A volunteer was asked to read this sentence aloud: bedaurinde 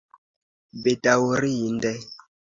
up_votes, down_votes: 1, 2